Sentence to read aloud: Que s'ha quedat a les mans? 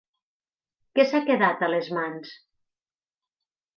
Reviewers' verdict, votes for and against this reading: rejected, 2, 4